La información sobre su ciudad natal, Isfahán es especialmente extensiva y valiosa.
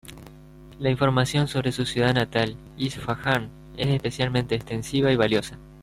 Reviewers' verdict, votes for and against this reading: rejected, 0, 2